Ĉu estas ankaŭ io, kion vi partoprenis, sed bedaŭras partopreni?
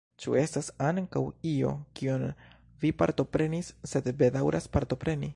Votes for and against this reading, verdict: 2, 0, accepted